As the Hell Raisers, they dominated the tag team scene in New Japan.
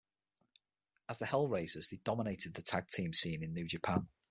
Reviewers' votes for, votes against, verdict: 6, 3, accepted